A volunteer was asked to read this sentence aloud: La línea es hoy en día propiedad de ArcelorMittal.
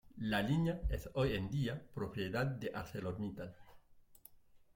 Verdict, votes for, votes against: rejected, 1, 2